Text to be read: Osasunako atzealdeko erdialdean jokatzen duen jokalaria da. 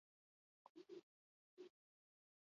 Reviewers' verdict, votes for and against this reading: rejected, 0, 8